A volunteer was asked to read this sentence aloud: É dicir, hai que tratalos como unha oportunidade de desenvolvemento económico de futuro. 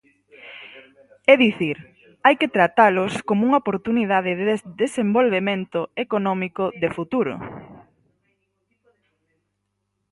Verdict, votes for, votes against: rejected, 0, 4